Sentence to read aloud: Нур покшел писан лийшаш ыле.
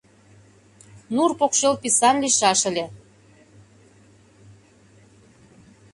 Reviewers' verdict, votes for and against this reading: accepted, 2, 0